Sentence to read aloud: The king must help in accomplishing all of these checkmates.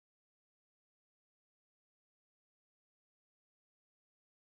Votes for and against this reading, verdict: 0, 2, rejected